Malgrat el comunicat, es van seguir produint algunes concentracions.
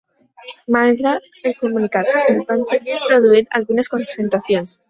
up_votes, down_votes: 0, 2